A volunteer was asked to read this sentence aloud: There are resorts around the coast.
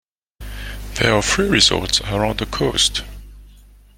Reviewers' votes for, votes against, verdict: 1, 2, rejected